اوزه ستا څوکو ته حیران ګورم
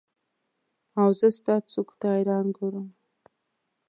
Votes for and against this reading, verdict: 2, 0, accepted